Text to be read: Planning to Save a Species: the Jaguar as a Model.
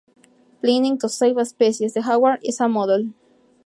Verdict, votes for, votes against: rejected, 0, 2